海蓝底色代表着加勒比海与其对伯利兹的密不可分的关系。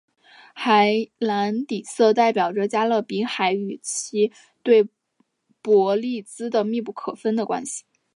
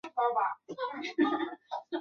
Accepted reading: first